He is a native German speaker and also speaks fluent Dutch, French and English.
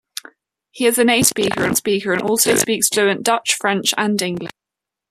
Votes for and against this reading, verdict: 1, 2, rejected